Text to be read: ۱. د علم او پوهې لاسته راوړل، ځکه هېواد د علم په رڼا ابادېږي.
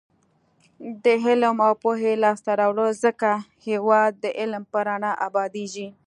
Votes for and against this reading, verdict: 0, 2, rejected